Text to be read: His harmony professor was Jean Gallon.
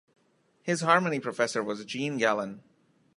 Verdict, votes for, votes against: accepted, 2, 0